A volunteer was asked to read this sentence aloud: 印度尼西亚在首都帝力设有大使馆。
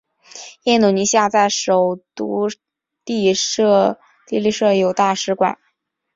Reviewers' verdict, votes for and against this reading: rejected, 0, 3